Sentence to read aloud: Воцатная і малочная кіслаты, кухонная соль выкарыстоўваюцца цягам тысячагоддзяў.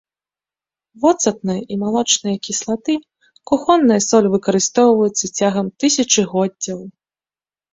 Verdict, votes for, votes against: accepted, 2, 0